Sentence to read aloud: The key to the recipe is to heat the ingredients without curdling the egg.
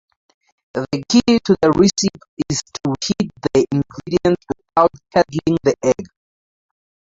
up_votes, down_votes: 2, 0